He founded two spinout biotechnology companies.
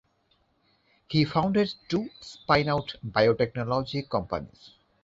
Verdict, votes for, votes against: rejected, 1, 2